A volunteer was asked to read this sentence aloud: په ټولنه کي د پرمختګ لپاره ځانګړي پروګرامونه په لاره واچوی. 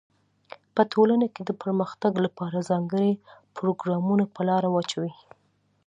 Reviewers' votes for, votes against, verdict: 2, 0, accepted